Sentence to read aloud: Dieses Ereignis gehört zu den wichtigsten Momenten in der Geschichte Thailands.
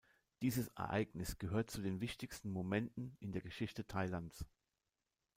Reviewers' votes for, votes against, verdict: 2, 0, accepted